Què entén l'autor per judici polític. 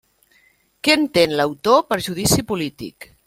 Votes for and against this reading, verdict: 3, 0, accepted